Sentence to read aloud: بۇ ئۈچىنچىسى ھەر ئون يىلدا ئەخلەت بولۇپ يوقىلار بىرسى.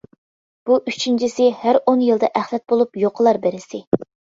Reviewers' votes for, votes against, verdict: 1, 2, rejected